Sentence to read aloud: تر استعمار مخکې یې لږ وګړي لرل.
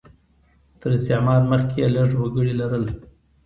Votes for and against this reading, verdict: 0, 2, rejected